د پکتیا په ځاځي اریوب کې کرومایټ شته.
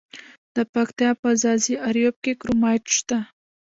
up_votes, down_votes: 0, 2